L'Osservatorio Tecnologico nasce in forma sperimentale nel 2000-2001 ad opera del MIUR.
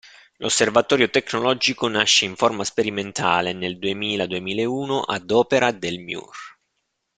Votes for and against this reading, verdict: 0, 2, rejected